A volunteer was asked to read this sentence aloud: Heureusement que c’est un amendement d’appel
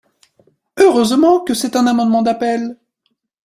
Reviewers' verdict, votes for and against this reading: accepted, 3, 0